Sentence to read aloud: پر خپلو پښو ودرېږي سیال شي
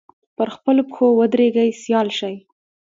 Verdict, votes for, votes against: accepted, 2, 0